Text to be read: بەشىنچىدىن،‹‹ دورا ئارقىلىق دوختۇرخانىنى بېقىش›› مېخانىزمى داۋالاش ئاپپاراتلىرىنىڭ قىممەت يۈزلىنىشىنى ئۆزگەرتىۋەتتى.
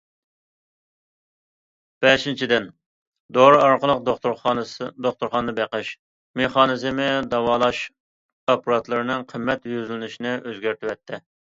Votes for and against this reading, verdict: 0, 2, rejected